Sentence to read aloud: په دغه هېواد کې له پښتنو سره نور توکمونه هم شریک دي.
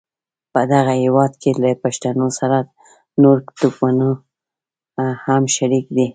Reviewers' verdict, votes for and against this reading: rejected, 1, 2